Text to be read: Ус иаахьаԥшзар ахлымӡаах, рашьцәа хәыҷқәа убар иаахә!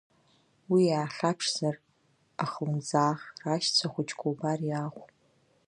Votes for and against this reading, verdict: 0, 2, rejected